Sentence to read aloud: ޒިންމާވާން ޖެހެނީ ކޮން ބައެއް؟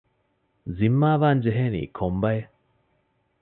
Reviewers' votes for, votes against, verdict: 2, 0, accepted